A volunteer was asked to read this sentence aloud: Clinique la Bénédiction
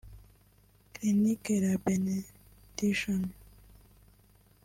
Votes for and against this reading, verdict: 1, 2, rejected